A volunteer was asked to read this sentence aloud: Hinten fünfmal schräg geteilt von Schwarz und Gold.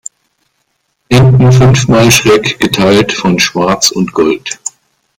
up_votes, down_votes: 1, 2